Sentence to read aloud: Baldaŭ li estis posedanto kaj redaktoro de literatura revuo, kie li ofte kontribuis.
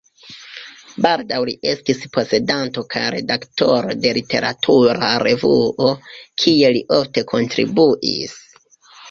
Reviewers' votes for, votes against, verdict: 3, 1, accepted